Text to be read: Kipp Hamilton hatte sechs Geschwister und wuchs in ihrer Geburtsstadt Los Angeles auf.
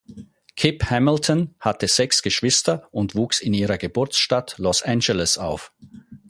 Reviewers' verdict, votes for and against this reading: accepted, 4, 0